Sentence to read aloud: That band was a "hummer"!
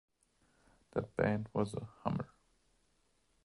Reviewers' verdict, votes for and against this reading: accepted, 2, 0